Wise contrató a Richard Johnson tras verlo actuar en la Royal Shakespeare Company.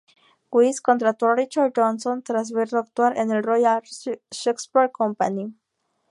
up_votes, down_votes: 0, 2